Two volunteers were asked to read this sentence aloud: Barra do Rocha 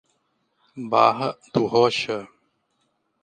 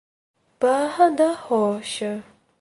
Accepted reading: first